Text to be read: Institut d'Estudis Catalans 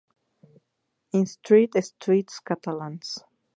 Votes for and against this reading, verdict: 2, 2, rejected